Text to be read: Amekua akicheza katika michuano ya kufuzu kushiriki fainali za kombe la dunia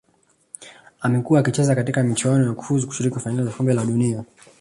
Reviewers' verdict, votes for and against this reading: rejected, 0, 2